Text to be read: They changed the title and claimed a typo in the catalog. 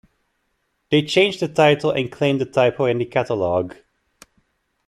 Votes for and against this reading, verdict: 2, 1, accepted